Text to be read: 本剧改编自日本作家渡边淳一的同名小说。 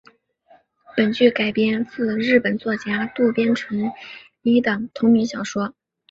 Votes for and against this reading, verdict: 5, 1, accepted